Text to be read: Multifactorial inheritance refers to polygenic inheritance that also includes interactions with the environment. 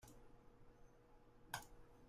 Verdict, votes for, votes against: rejected, 0, 2